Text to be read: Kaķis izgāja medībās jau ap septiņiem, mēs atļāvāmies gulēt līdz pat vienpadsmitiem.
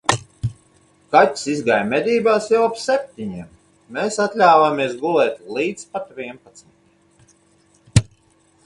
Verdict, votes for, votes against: accepted, 4, 0